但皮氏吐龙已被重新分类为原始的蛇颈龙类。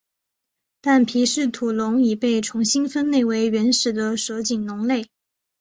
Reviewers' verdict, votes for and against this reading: accepted, 2, 0